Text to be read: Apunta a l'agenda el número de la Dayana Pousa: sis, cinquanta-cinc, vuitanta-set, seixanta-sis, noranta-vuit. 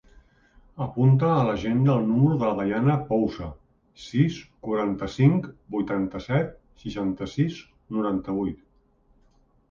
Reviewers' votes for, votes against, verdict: 0, 2, rejected